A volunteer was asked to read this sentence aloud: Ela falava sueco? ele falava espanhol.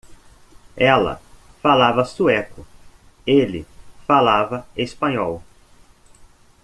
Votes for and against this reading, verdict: 2, 0, accepted